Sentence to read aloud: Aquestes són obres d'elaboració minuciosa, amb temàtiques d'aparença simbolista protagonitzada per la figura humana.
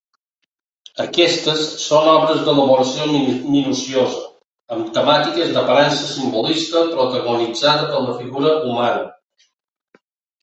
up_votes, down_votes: 1, 2